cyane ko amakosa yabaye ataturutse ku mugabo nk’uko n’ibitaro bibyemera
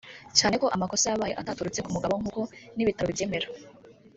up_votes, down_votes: 1, 2